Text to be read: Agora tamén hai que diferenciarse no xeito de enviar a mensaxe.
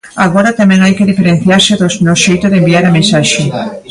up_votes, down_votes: 0, 2